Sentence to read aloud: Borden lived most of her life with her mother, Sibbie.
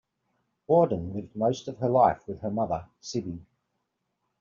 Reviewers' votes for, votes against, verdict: 1, 2, rejected